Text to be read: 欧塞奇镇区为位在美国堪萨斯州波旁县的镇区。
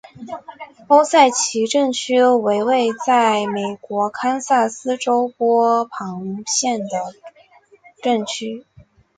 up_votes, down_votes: 2, 0